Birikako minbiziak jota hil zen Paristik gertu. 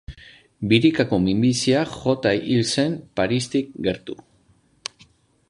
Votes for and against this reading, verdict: 3, 0, accepted